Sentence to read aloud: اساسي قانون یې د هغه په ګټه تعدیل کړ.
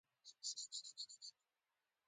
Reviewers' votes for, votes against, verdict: 0, 3, rejected